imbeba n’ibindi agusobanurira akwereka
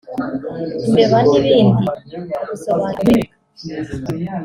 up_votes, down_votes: 1, 2